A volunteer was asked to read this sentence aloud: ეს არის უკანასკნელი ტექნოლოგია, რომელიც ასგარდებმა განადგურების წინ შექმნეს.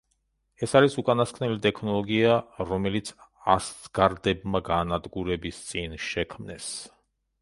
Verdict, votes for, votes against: rejected, 0, 2